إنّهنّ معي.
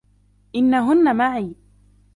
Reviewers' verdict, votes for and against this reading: accepted, 2, 0